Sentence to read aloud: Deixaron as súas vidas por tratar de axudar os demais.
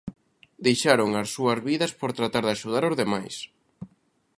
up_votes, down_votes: 2, 0